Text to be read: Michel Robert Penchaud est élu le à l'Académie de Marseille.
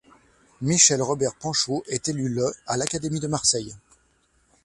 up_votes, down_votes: 2, 0